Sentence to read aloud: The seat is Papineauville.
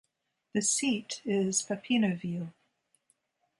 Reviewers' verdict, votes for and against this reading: rejected, 0, 2